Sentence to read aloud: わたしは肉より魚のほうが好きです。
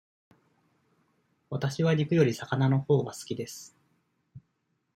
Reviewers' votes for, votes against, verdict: 2, 0, accepted